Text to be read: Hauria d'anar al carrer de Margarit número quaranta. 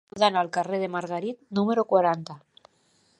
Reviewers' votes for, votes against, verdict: 0, 2, rejected